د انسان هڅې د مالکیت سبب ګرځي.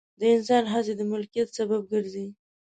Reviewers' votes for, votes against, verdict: 0, 2, rejected